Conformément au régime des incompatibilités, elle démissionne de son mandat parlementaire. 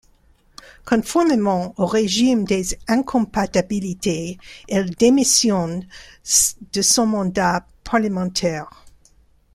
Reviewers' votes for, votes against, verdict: 0, 2, rejected